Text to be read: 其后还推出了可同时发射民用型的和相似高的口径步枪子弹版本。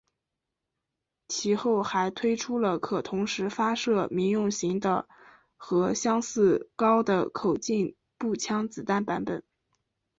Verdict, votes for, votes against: accepted, 2, 0